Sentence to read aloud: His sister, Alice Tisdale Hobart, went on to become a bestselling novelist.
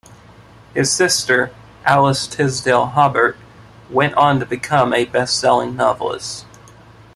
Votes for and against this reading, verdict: 2, 0, accepted